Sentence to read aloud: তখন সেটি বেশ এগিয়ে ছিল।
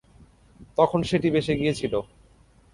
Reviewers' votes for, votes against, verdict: 3, 0, accepted